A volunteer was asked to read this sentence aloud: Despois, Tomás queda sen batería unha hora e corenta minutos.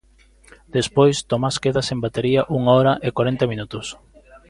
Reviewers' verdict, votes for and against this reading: accepted, 2, 0